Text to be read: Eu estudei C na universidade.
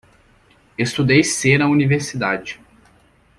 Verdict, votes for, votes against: rejected, 0, 2